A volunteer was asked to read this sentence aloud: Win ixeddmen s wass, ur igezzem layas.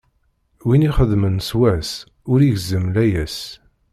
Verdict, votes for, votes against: rejected, 1, 2